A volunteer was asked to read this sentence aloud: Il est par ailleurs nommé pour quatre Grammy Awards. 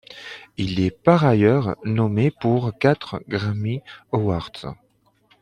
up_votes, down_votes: 2, 0